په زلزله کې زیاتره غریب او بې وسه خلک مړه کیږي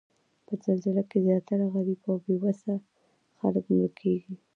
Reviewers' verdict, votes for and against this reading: rejected, 1, 2